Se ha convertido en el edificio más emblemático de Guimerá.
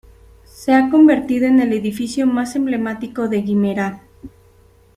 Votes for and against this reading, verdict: 2, 0, accepted